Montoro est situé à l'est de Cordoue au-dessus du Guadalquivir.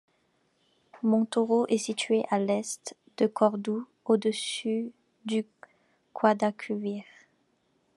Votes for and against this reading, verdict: 2, 3, rejected